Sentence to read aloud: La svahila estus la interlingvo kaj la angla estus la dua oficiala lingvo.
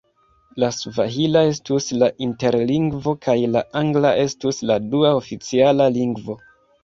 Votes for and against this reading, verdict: 0, 2, rejected